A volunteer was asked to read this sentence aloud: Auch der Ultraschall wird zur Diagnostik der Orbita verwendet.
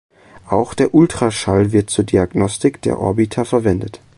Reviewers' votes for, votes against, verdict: 2, 0, accepted